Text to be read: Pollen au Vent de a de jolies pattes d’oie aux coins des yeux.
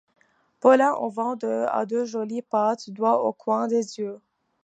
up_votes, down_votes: 0, 2